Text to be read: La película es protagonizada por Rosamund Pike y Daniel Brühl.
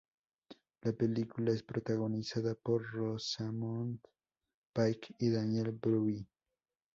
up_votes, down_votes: 0, 2